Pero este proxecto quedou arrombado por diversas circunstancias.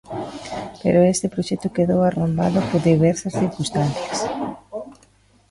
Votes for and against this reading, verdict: 0, 2, rejected